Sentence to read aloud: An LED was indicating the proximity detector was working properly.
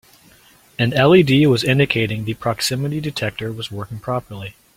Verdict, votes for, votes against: accepted, 2, 0